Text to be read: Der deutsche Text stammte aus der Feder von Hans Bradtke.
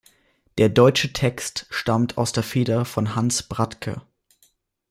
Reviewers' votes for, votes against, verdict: 2, 3, rejected